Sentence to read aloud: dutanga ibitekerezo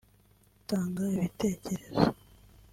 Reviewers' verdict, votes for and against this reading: accepted, 3, 0